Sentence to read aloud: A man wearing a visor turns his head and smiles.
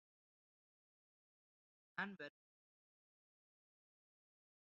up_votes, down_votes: 0, 2